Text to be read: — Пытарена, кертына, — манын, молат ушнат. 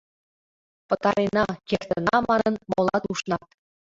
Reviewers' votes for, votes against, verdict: 2, 1, accepted